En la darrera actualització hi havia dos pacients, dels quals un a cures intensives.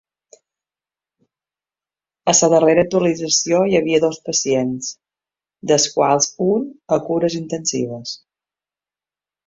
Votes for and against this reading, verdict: 1, 2, rejected